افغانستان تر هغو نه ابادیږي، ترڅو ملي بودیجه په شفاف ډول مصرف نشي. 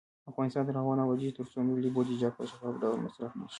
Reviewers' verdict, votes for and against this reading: rejected, 1, 2